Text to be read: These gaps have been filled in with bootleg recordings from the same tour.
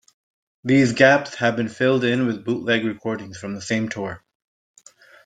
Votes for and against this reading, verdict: 2, 0, accepted